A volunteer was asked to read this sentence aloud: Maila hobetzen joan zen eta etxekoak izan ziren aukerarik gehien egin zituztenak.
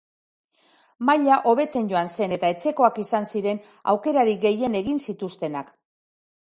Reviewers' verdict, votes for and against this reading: accepted, 2, 0